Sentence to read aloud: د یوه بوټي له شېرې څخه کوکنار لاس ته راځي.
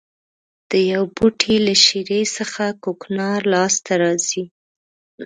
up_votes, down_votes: 2, 0